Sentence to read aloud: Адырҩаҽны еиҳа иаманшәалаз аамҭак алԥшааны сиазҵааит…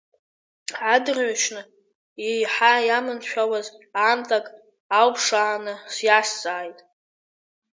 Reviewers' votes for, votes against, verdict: 1, 2, rejected